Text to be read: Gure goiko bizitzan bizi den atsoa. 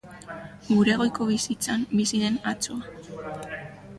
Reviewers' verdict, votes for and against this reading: rejected, 0, 2